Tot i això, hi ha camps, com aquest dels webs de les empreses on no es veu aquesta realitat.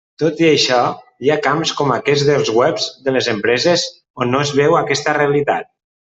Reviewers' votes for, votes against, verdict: 2, 0, accepted